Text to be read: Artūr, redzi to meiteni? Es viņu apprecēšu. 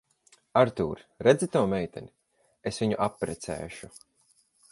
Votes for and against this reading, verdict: 2, 4, rejected